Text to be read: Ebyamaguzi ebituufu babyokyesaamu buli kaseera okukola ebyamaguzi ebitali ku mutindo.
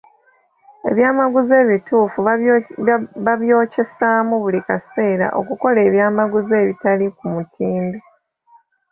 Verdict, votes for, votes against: rejected, 1, 3